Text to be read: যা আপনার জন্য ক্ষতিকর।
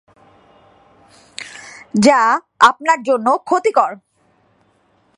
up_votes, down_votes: 2, 0